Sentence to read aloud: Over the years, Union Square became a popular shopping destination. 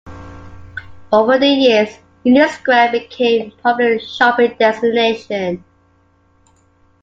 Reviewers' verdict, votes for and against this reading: accepted, 2, 1